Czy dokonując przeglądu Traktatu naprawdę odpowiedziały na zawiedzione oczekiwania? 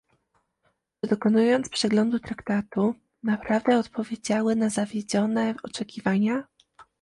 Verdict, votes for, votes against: rejected, 1, 2